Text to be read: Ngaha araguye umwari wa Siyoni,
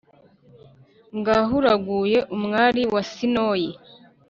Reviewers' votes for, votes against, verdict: 1, 2, rejected